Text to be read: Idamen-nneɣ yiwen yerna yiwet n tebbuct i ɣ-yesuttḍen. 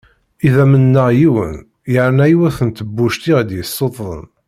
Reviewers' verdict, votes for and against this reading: accepted, 2, 0